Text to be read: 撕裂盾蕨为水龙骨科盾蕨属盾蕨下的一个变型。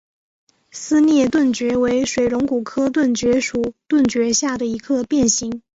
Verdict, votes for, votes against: accepted, 2, 0